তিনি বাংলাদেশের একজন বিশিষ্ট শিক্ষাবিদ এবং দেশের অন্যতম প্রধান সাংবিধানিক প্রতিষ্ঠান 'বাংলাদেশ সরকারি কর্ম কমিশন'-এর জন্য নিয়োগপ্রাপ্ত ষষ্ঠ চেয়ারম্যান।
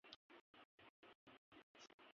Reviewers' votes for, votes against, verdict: 0, 2, rejected